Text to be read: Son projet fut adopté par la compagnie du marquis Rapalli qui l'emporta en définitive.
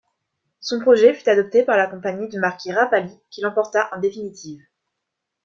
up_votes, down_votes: 2, 0